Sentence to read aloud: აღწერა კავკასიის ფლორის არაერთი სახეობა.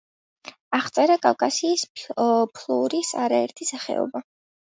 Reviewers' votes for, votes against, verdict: 2, 1, accepted